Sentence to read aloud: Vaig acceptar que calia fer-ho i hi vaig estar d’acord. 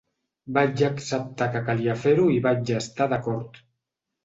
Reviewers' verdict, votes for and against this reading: accepted, 4, 0